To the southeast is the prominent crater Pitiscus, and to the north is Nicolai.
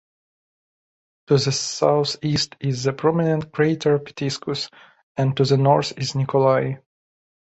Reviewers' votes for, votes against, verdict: 0, 2, rejected